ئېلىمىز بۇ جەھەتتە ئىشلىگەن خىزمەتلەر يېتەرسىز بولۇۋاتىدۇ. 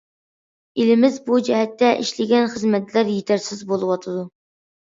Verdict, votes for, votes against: accepted, 2, 0